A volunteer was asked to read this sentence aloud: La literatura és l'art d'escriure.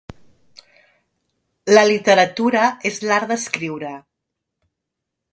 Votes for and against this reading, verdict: 2, 0, accepted